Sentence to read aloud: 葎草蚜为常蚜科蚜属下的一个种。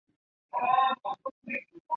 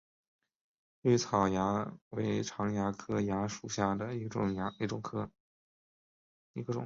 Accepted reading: second